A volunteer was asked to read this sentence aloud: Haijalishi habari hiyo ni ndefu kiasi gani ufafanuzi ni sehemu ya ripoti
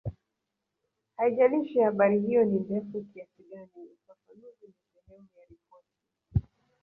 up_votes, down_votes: 0, 2